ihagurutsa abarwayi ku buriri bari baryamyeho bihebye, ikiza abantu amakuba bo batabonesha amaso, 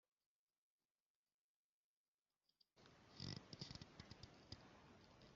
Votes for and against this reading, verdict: 0, 2, rejected